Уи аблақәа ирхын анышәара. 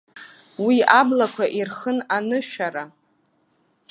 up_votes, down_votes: 2, 1